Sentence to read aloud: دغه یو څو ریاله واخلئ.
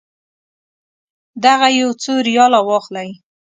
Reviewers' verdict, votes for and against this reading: accepted, 2, 0